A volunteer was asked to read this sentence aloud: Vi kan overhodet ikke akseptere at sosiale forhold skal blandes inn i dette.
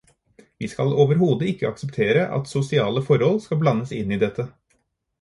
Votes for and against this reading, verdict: 0, 4, rejected